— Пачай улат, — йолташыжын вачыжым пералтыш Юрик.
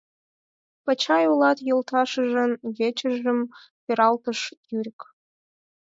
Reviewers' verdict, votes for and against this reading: rejected, 2, 4